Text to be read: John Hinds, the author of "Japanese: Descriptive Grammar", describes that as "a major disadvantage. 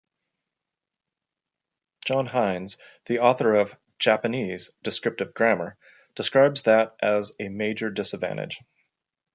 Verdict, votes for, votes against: accepted, 2, 0